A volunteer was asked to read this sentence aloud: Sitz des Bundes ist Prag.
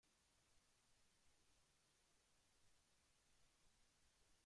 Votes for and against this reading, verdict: 0, 2, rejected